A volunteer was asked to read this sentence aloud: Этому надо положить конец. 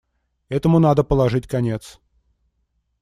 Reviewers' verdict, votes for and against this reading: accepted, 2, 0